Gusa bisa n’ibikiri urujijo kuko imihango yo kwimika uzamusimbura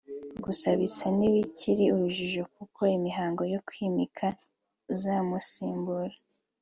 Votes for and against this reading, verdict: 3, 0, accepted